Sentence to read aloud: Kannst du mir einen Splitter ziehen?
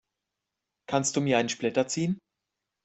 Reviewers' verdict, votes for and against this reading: accepted, 2, 0